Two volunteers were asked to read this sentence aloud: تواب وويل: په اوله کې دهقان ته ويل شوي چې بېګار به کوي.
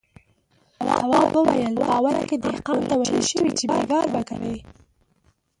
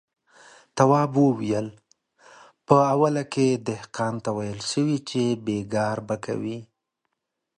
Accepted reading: second